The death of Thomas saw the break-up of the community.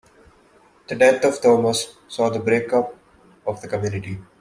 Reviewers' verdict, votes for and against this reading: accepted, 2, 0